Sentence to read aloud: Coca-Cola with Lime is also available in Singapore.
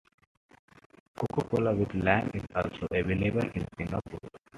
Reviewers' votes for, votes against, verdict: 2, 1, accepted